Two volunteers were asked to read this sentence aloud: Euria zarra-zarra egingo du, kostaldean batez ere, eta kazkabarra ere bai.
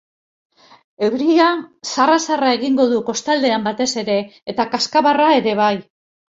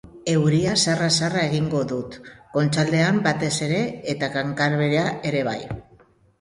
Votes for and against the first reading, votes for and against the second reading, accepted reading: 3, 0, 0, 2, first